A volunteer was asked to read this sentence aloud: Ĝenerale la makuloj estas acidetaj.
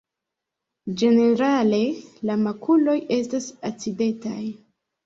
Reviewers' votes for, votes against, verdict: 2, 0, accepted